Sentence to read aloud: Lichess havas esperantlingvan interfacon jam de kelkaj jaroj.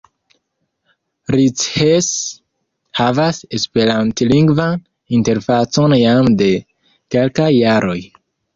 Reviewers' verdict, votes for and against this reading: rejected, 0, 2